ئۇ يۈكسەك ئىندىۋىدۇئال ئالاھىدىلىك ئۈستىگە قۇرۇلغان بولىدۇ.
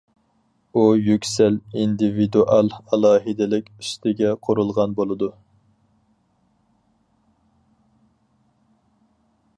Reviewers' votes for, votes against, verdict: 2, 2, rejected